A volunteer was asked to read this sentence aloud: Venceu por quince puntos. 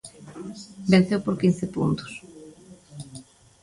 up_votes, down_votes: 2, 0